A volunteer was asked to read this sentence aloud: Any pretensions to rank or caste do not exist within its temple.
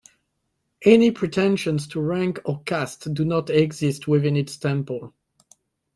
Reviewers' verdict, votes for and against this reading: accepted, 2, 0